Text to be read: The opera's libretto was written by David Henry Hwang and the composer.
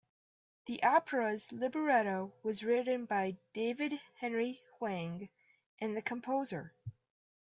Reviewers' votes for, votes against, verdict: 2, 0, accepted